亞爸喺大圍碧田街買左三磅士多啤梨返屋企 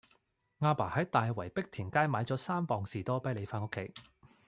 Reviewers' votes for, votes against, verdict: 2, 0, accepted